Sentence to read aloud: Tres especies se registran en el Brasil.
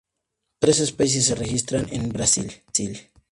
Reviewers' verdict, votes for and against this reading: accepted, 2, 0